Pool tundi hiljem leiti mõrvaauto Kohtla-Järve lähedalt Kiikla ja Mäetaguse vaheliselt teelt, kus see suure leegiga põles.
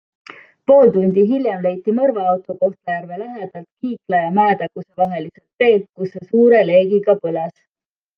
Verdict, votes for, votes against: accepted, 2, 0